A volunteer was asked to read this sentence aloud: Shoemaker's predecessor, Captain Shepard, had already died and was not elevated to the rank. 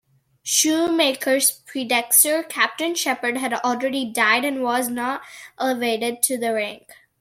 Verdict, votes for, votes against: rejected, 0, 2